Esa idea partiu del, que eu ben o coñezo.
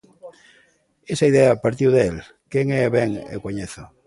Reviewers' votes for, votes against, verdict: 0, 2, rejected